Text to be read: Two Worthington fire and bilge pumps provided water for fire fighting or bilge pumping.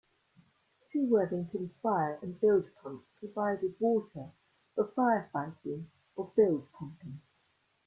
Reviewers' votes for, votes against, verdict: 0, 2, rejected